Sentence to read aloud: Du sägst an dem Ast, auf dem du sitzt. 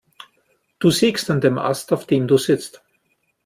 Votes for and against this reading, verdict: 2, 0, accepted